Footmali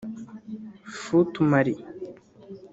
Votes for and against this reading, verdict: 2, 3, rejected